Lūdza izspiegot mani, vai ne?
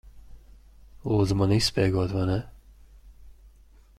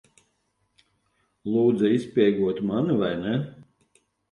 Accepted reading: second